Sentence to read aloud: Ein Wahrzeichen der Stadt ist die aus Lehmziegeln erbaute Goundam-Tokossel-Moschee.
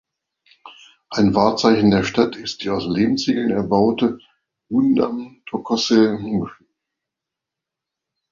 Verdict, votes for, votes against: rejected, 0, 2